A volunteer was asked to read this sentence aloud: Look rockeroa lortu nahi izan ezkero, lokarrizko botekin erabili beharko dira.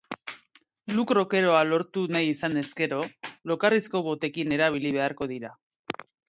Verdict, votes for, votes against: accepted, 2, 0